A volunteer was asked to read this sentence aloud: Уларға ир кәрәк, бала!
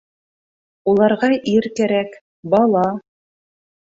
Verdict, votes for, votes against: accepted, 2, 0